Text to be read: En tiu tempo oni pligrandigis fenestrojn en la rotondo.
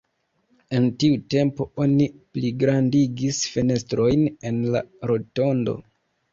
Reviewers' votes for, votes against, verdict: 2, 1, accepted